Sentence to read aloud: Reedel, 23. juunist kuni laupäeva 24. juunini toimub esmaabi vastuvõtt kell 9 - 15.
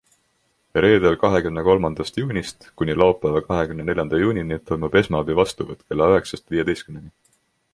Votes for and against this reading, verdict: 0, 2, rejected